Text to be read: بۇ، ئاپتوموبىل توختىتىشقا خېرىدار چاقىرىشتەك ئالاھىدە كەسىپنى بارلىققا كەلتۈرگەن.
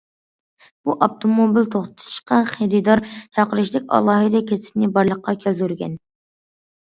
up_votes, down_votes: 2, 0